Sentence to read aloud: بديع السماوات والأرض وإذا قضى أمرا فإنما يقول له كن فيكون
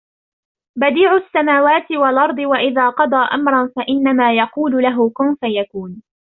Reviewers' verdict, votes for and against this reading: rejected, 1, 2